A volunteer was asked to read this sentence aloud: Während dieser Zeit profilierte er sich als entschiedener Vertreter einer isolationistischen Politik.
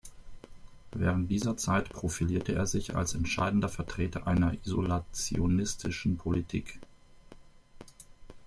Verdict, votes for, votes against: rejected, 0, 2